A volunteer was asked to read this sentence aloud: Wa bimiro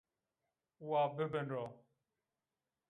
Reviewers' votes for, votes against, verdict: 0, 2, rejected